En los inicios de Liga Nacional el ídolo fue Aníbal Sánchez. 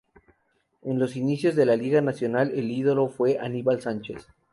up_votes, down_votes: 0, 2